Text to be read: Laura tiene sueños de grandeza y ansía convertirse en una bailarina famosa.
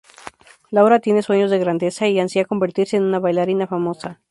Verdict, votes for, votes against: accepted, 2, 0